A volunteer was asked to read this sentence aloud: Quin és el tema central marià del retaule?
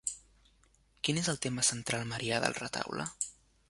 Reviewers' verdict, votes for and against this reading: accepted, 2, 0